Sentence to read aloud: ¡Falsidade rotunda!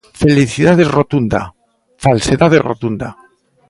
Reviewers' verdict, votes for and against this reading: rejected, 0, 2